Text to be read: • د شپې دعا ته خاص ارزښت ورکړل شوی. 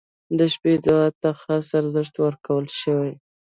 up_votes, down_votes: 2, 0